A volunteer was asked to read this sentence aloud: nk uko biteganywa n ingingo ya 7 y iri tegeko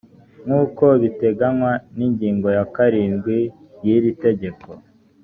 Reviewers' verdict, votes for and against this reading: rejected, 0, 2